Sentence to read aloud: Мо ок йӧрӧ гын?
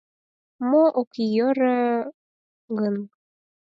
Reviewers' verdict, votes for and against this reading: accepted, 4, 0